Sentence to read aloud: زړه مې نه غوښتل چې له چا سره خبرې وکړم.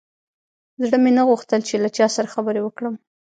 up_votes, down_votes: 2, 0